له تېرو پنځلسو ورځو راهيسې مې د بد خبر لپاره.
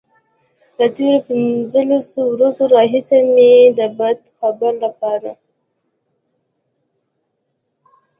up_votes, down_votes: 3, 0